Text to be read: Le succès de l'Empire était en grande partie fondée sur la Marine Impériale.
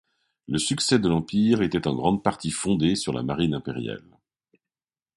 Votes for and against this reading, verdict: 2, 0, accepted